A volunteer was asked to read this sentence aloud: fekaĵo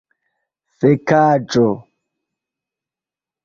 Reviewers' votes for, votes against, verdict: 0, 2, rejected